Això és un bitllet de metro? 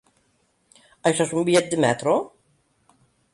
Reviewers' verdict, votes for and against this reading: accepted, 2, 0